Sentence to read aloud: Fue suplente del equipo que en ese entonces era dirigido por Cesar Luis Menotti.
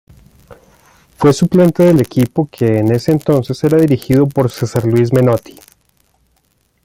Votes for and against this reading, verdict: 2, 0, accepted